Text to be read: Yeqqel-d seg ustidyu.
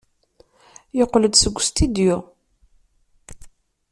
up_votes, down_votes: 2, 0